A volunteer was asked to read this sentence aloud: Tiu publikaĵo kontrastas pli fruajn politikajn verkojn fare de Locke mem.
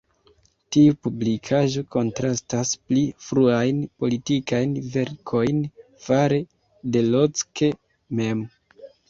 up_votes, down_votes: 2, 0